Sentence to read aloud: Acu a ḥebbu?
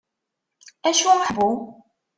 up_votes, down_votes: 0, 2